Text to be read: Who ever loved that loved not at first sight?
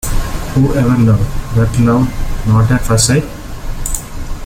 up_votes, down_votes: 0, 2